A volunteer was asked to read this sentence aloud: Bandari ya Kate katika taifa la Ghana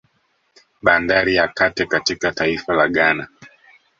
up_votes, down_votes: 2, 1